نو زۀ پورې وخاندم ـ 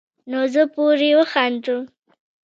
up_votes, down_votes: 1, 2